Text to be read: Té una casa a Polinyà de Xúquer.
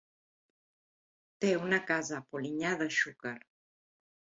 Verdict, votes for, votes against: accepted, 2, 0